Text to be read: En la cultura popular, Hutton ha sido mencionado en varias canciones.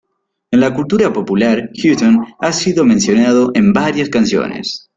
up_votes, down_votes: 2, 0